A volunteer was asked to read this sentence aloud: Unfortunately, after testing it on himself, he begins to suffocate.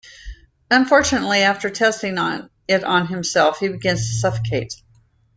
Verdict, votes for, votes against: accepted, 2, 1